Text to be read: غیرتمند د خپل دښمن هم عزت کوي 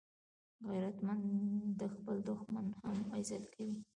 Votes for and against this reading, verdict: 2, 0, accepted